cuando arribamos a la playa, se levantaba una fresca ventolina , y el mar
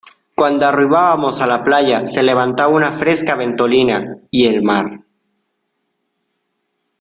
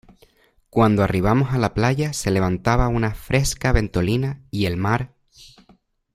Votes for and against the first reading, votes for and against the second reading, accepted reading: 0, 2, 2, 0, second